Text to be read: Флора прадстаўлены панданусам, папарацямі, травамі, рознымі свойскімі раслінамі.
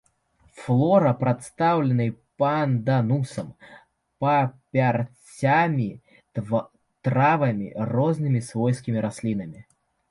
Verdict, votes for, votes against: rejected, 0, 2